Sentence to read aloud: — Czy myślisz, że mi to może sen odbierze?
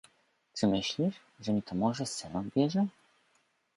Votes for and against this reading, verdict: 2, 0, accepted